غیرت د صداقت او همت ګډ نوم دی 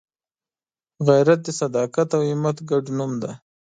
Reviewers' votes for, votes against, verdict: 2, 0, accepted